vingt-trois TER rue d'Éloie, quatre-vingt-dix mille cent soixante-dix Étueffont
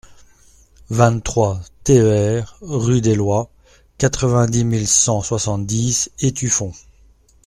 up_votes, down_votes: 2, 0